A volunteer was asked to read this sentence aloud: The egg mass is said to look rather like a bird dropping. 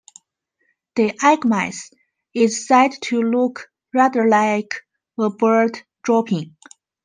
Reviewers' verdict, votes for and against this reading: accepted, 2, 1